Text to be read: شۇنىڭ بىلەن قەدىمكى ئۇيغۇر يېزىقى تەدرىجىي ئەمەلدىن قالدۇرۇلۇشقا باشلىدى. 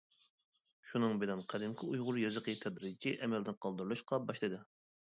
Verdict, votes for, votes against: accepted, 2, 0